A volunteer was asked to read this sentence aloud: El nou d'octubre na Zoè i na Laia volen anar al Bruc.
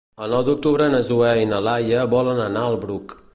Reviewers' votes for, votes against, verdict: 2, 0, accepted